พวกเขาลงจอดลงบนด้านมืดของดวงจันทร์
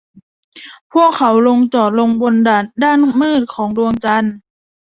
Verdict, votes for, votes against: rejected, 0, 2